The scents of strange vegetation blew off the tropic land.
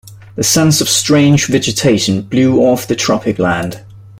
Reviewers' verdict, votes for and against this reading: rejected, 1, 2